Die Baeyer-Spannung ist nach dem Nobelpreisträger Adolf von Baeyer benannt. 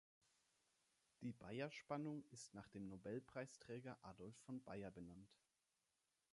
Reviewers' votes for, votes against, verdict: 2, 0, accepted